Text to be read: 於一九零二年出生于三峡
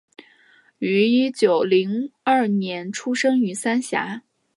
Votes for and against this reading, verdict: 3, 0, accepted